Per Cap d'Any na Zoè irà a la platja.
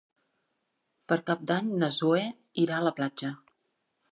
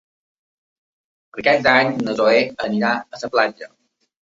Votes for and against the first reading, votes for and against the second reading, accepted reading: 2, 0, 0, 2, first